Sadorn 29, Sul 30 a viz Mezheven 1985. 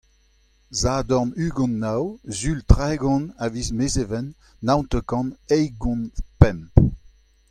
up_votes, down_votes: 0, 2